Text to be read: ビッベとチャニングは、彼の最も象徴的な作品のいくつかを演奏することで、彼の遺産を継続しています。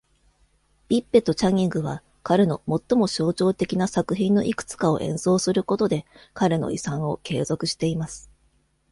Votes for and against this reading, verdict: 2, 0, accepted